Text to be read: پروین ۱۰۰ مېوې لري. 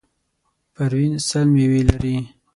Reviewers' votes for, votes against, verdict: 0, 2, rejected